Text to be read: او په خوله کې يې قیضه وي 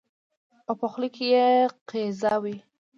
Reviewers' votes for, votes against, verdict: 2, 1, accepted